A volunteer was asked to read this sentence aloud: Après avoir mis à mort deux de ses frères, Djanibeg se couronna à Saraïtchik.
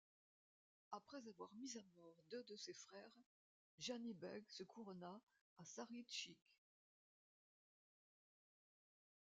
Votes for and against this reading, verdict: 1, 2, rejected